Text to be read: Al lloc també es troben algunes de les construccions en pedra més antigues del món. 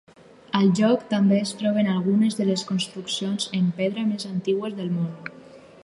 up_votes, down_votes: 2, 4